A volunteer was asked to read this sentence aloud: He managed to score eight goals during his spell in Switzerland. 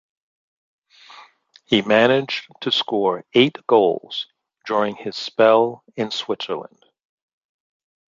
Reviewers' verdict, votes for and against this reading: accepted, 3, 1